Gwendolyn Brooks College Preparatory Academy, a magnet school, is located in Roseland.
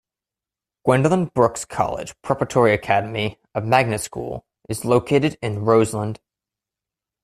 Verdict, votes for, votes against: accepted, 2, 0